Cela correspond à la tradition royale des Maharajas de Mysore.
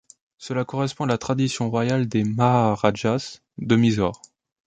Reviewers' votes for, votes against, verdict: 0, 2, rejected